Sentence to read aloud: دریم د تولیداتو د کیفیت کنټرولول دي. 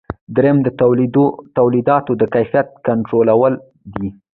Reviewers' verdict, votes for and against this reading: accepted, 2, 1